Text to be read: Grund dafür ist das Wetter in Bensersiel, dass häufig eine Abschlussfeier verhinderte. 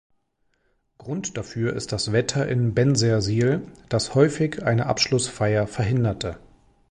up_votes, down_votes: 2, 0